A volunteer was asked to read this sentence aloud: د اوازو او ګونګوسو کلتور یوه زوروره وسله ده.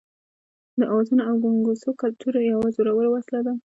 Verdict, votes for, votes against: rejected, 0, 2